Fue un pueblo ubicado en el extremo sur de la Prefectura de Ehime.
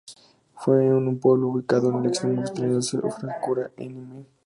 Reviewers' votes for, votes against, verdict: 0, 2, rejected